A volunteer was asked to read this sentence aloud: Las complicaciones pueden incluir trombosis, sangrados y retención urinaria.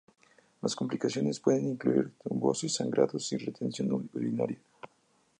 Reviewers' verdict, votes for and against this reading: accepted, 2, 0